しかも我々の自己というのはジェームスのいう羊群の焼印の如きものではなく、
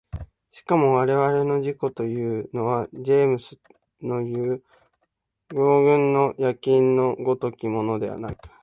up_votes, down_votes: 9, 2